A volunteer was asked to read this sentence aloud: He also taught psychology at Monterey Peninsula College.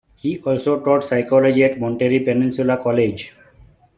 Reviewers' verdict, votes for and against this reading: accepted, 2, 0